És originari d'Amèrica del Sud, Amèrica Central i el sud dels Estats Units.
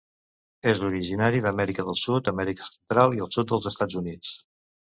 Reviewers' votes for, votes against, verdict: 0, 2, rejected